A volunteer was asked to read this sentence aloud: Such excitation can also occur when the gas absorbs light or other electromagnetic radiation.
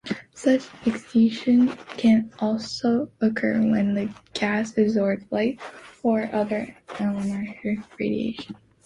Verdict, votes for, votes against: rejected, 0, 2